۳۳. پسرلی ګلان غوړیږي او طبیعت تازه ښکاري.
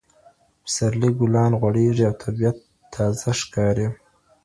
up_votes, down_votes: 0, 2